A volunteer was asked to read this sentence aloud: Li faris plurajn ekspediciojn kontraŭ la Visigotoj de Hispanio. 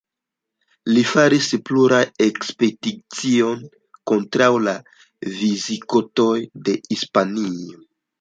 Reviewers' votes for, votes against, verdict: 1, 2, rejected